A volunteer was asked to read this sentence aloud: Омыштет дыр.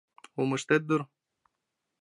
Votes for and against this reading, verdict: 2, 0, accepted